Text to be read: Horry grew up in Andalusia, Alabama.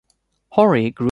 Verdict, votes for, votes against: rejected, 0, 2